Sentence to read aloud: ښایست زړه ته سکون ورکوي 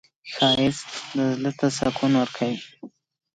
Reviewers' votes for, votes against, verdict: 2, 0, accepted